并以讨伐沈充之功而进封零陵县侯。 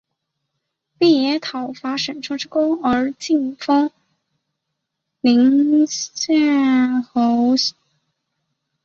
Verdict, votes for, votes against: rejected, 1, 2